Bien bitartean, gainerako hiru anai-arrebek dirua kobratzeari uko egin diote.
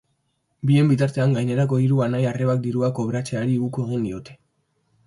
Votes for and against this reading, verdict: 1, 2, rejected